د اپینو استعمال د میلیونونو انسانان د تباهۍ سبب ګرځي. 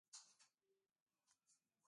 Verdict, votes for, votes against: rejected, 1, 2